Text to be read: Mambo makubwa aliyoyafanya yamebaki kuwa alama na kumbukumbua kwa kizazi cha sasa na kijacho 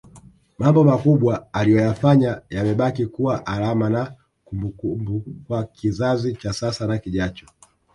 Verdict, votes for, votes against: rejected, 0, 2